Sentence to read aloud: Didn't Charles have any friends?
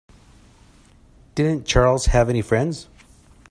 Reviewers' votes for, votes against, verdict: 2, 0, accepted